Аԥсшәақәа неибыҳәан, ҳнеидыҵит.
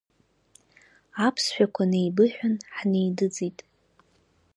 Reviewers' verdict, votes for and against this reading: accepted, 4, 0